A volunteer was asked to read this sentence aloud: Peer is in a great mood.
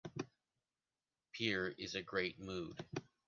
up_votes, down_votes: 0, 2